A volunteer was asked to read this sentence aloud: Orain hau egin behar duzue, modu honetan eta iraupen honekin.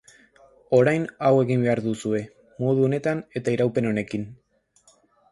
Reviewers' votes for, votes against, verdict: 2, 0, accepted